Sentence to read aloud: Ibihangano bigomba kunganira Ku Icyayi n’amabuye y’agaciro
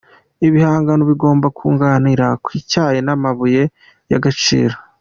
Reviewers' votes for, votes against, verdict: 2, 0, accepted